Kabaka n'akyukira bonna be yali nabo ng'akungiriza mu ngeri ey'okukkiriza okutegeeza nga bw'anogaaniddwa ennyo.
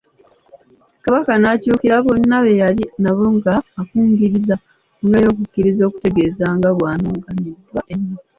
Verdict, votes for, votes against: rejected, 1, 2